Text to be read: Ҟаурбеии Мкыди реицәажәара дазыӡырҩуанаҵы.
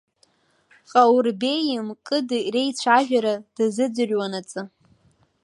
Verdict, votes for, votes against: rejected, 0, 2